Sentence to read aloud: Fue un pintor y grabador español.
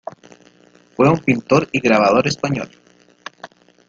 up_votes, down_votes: 2, 0